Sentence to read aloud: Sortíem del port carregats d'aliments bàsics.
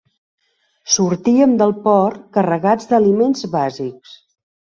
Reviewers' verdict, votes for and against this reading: accepted, 3, 0